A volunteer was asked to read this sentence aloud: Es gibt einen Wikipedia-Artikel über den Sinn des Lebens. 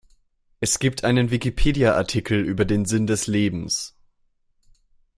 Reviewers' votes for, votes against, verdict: 2, 0, accepted